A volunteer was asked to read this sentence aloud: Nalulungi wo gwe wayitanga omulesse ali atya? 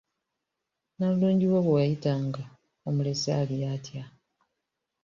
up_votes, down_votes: 1, 2